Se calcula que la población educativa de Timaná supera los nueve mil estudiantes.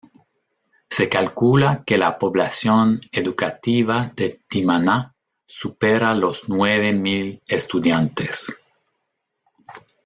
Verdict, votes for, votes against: accepted, 3, 0